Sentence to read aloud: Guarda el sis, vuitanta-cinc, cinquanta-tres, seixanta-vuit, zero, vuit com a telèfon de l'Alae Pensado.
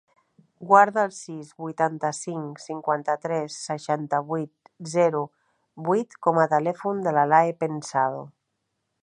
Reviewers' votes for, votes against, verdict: 2, 0, accepted